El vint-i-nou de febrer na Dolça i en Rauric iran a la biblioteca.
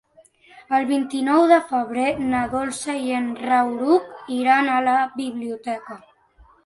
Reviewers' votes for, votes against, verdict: 0, 2, rejected